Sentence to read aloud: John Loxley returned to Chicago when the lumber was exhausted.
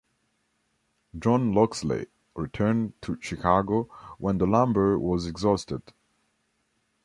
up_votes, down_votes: 2, 1